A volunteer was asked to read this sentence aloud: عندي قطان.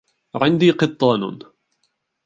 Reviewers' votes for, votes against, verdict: 2, 1, accepted